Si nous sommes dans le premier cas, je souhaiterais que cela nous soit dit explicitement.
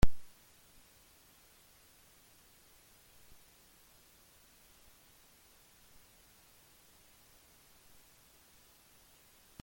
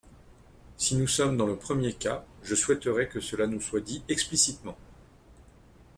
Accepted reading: second